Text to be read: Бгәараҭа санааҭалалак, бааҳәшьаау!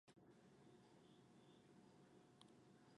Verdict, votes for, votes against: rejected, 1, 2